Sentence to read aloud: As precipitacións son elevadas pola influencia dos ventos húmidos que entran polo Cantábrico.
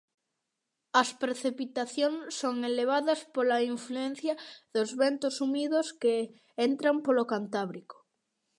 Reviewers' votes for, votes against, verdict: 2, 0, accepted